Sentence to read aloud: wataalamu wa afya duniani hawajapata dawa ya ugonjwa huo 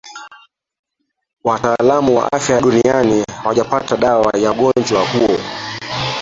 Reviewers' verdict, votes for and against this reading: rejected, 0, 3